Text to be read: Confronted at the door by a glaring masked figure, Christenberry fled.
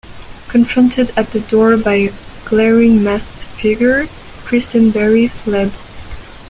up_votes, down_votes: 2, 0